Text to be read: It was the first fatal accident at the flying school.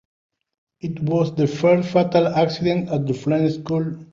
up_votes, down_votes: 1, 2